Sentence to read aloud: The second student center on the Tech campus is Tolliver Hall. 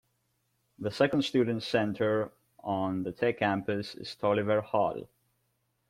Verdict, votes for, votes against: rejected, 1, 2